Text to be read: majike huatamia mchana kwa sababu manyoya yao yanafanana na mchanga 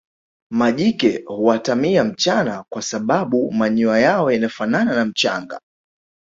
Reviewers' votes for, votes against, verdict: 2, 1, accepted